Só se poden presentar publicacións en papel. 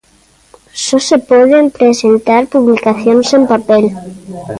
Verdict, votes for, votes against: accepted, 2, 0